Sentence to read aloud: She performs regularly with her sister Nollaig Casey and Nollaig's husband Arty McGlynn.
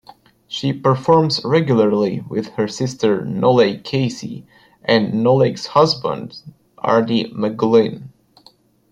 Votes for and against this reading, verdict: 2, 0, accepted